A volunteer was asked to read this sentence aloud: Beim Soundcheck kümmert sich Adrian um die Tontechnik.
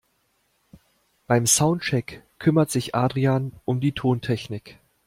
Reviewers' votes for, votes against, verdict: 2, 0, accepted